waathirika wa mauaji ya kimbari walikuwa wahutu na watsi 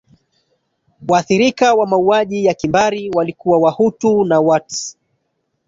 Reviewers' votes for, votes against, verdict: 6, 2, accepted